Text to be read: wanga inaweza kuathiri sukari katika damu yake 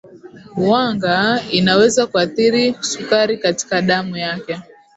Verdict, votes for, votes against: accepted, 2, 1